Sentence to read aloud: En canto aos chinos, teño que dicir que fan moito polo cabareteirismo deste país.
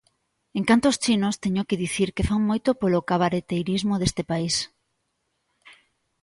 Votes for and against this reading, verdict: 2, 0, accepted